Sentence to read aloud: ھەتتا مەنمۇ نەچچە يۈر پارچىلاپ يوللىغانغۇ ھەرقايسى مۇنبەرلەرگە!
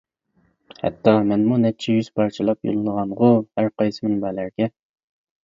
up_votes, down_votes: 0, 2